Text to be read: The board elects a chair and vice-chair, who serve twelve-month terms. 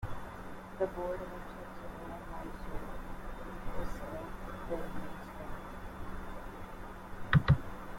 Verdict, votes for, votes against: rejected, 1, 2